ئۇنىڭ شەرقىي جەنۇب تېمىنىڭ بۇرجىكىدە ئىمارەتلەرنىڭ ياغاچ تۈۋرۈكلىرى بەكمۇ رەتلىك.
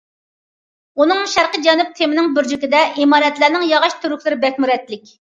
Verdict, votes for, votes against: accepted, 2, 1